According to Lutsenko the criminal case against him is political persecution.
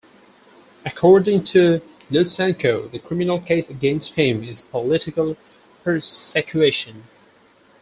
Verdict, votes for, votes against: rejected, 2, 4